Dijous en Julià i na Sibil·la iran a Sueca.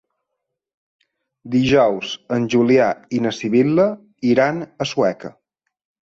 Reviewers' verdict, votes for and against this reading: accepted, 3, 0